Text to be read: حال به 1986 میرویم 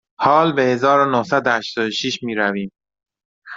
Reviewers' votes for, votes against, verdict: 0, 2, rejected